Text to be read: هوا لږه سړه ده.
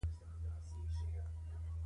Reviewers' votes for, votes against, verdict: 0, 2, rejected